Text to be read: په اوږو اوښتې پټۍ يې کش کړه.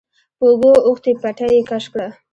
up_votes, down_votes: 2, 0